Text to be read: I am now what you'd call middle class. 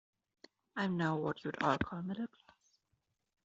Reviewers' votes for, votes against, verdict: 0, 2, rejected